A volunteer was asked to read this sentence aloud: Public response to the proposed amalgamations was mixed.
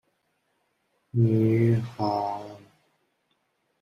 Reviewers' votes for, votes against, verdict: 0, 2, rejected